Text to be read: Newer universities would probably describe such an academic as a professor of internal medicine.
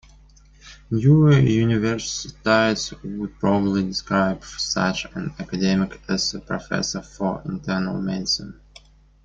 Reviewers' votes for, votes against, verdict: 0, 2, rejected